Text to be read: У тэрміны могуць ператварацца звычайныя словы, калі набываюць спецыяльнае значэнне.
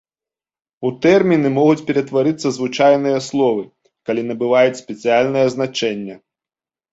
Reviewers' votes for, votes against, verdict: 5, 3, accepted